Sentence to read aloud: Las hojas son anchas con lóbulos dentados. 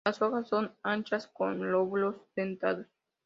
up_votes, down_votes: 2, 0